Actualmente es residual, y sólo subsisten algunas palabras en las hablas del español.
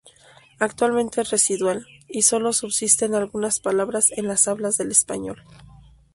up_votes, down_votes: 2, 0